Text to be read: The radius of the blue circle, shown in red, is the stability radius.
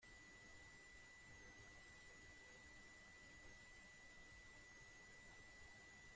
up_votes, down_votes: 0, 2